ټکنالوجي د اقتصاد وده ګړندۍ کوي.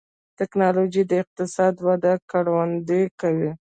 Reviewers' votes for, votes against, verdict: 2, 1, accepted